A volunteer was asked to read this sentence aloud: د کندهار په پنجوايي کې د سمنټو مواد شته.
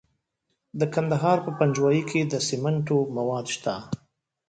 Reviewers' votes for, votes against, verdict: 1, 2, rejected